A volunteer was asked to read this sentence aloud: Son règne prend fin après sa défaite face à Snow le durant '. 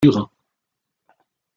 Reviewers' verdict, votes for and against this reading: rejected, 0, 2